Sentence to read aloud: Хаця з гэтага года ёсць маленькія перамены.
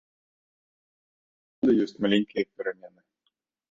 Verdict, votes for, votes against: rejected, 0, 2